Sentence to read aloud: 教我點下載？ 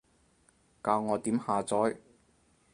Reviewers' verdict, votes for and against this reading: accepted, 4, 0